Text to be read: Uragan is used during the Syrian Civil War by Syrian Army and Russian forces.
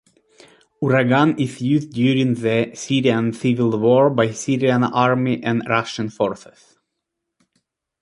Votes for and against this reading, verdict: 2, 0, accepted